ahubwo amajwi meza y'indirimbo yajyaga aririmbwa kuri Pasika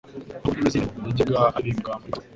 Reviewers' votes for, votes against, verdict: 0, 2, rejected